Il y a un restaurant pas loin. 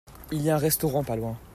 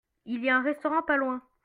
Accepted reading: first